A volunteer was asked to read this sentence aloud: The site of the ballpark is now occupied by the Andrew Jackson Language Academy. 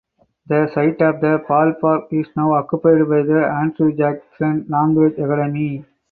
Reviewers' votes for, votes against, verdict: 2, 4, rejected